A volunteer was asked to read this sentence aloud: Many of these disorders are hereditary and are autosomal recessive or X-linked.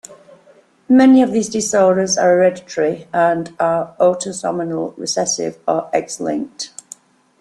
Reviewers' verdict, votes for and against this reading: rejected, 0, 2